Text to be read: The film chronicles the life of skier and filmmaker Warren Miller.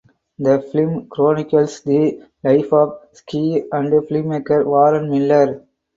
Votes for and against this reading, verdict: 2, 4, rejected